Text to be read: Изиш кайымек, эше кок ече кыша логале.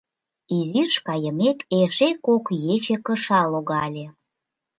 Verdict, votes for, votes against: accepted, 2, 0